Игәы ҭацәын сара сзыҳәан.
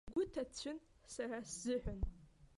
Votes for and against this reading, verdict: 1, 2, rejected